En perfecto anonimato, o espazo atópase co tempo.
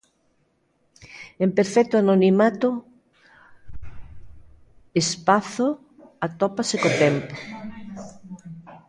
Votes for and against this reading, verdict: 0, 2, rejected